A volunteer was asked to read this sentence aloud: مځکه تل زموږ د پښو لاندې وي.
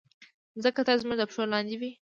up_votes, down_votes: 2, 0